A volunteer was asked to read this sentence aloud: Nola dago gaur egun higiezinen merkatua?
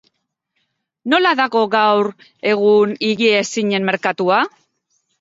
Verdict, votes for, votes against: accepted, 2, 0